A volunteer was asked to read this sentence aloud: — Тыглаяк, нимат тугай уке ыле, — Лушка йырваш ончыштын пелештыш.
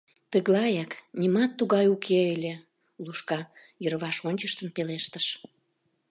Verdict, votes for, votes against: accepted, 2, 0